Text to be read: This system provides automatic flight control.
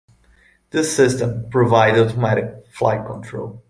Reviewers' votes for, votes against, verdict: 2, 1, accepted